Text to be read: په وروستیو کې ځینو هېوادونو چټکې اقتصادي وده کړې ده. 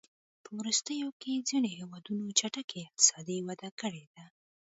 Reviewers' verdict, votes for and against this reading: accepted, 2, 0